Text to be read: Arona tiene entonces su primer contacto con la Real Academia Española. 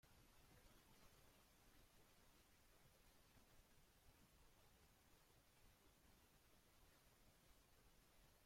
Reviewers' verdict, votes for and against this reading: rejected, 0, 2